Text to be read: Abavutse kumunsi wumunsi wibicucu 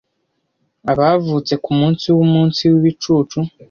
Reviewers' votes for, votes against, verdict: 2, 0, accepted